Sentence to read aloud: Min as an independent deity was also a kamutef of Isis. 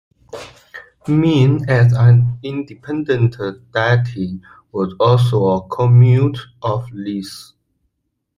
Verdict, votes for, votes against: rejected, 1, 2